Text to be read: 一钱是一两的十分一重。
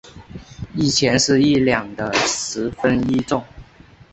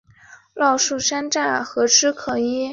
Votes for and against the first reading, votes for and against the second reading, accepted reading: 2, 0, 1, 3, first